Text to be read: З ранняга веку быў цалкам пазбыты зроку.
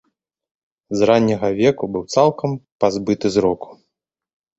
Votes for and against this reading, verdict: 2, 0, accepted